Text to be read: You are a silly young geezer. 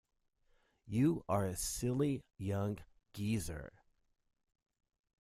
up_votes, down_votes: 2, 0